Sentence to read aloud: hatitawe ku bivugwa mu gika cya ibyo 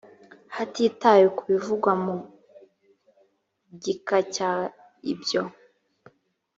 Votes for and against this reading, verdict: 3, 0, accepted